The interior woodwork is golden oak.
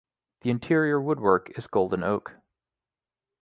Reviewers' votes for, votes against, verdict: 1, 2, rejected